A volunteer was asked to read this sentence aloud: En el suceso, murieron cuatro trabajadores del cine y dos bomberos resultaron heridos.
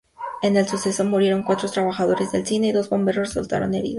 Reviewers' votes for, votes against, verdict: 2, 0, accepted